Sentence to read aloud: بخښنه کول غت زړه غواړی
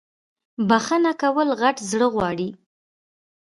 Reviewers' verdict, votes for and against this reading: accepted, 2, 0